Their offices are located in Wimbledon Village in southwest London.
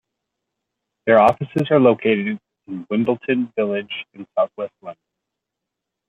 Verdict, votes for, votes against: accepted, 2, 1